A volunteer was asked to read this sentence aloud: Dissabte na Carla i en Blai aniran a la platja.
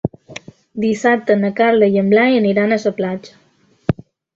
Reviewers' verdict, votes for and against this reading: rejected, 1, 2